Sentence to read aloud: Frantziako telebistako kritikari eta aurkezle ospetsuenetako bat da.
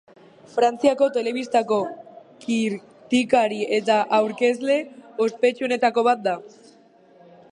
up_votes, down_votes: 0, 3